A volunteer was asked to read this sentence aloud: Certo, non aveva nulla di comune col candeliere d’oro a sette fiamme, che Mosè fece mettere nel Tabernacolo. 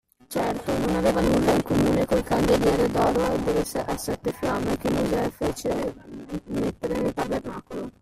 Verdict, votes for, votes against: rejected, 0, 2